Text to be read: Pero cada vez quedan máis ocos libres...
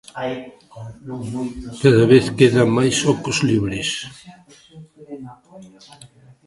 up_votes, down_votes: 0, 2